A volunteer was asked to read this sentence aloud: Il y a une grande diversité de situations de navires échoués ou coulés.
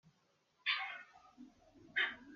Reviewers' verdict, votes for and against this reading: rejected, 0, 2